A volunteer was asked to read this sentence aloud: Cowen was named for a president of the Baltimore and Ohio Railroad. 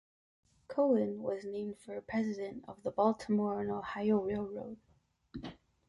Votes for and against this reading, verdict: 1, 2, rejected